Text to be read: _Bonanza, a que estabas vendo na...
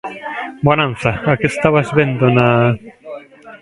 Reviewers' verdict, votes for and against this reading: rejected, 3, 5